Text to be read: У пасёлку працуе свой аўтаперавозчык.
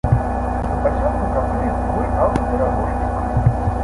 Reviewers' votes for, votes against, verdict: 1, 2, rejected